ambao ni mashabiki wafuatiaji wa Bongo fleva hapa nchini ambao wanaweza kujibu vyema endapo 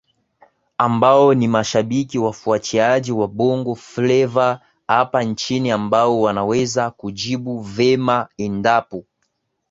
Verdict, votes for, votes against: rejected, 1, 2